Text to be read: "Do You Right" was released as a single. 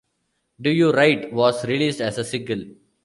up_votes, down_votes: 1, 2